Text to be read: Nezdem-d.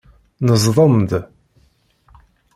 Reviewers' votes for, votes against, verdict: 0, 2, rejected